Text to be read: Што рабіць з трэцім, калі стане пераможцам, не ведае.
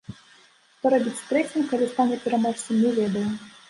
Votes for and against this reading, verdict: 3, 0, accepted